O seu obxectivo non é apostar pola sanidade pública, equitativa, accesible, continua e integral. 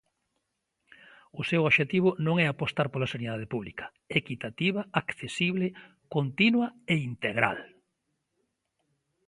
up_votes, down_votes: 2, 0